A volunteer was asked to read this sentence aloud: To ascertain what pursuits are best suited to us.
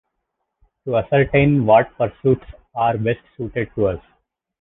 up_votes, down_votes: 2, 0